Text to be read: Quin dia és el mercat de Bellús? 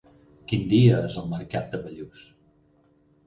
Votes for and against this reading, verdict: 0, 4, rejected